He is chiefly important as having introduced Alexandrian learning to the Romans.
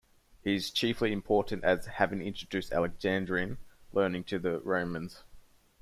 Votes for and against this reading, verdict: 0, 2, rejected